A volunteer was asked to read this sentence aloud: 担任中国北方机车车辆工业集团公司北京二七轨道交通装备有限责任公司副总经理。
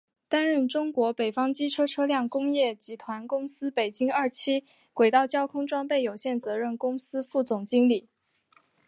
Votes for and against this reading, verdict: 3, 0, accepted